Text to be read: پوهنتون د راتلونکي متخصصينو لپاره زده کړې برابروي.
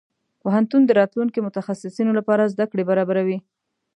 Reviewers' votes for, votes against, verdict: 2, 0, accepted